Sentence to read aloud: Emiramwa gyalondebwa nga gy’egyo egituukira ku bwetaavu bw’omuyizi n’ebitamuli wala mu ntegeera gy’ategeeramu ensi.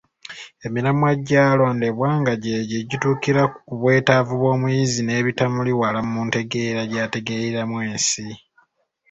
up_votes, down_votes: 2, 0